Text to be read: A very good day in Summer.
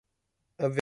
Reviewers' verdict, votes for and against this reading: rejected, 0, 2